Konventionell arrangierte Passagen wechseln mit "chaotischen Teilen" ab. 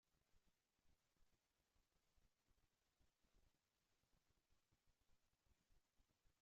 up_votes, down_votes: 0, 2